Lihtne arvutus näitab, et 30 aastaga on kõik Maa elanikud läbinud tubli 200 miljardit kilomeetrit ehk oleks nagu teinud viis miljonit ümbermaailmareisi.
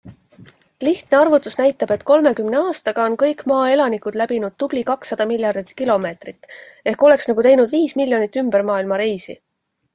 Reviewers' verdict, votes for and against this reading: rejected, 0, 2